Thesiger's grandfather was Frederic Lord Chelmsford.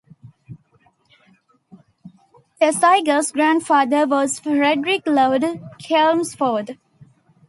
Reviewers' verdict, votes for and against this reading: accepted, 2, 0